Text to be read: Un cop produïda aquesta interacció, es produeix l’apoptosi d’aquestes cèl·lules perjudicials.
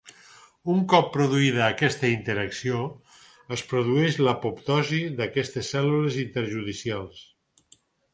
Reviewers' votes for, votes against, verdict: 2, 4, rejected